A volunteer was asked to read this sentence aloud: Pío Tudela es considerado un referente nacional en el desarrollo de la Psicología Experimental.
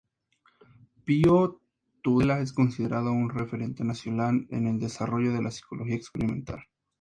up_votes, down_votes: 2, 0